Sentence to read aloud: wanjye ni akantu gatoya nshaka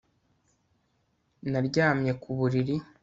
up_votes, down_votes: 1, 2